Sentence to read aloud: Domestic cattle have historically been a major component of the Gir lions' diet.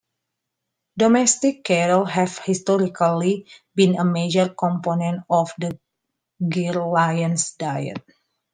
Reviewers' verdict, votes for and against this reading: accepted, 2, 1